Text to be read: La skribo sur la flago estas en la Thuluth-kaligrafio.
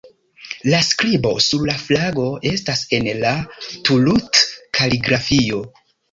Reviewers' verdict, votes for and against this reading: accepted, 2, 0